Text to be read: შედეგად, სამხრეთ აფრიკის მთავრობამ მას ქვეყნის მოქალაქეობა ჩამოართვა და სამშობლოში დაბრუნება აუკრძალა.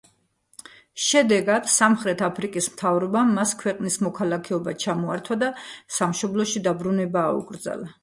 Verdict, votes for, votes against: accepted, 2, 0